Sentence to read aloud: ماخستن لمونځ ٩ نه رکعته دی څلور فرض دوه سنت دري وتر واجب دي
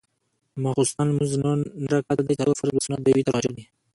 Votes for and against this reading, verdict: 0, 2, rejected